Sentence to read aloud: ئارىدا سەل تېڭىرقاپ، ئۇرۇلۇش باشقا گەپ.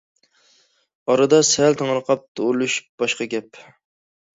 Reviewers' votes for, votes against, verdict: 0, 2, rejected